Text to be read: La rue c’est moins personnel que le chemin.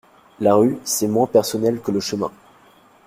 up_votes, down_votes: 2, 0